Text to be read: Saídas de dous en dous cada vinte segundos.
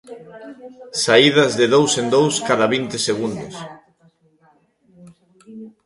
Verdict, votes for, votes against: rejected, 0, 2